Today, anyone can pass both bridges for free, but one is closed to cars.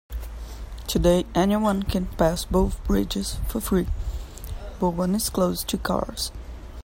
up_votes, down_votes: 2, 0